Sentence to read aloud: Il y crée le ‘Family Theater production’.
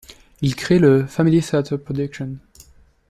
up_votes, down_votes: 0, 2